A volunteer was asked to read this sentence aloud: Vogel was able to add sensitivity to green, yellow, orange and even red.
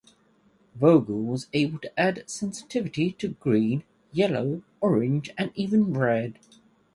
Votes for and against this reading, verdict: 2, 0, accepted